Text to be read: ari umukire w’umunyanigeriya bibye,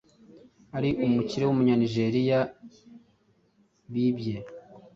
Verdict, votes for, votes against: accepted, 3, 0